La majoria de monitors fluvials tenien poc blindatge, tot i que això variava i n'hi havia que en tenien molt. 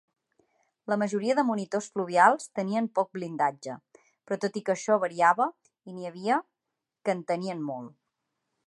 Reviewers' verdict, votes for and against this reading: rejected, 1, 2